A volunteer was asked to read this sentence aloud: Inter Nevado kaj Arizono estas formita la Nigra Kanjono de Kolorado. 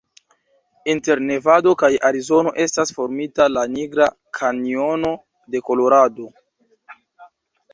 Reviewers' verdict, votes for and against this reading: accepted, 2, 1